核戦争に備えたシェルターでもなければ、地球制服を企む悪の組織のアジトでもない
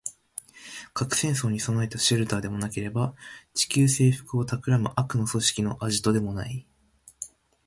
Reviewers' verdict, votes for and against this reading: accepted, 2, 0